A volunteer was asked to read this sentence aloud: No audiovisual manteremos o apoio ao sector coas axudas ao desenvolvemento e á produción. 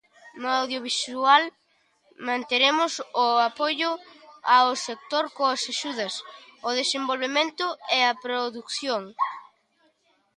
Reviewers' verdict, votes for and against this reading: rejected, 1, 2